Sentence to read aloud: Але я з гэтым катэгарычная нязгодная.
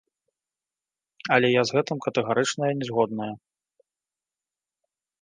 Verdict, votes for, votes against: accepted, 3, 1